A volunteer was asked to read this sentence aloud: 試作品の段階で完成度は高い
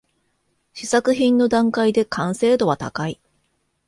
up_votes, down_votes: 2, 0